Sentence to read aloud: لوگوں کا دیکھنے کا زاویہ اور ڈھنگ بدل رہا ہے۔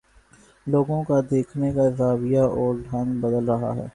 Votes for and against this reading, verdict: 2, 0, accepted